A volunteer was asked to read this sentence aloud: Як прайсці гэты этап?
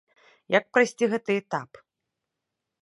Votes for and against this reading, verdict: 2, 0, accepted